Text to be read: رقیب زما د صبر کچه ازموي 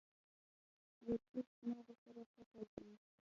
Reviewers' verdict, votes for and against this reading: rejected, 0, 2